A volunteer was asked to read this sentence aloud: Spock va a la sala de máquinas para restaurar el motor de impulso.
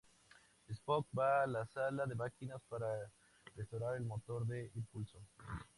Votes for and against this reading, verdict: 2, 4, rejected